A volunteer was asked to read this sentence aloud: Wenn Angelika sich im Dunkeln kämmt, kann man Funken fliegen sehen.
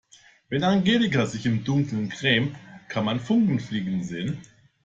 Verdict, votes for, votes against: rejected, 0, 2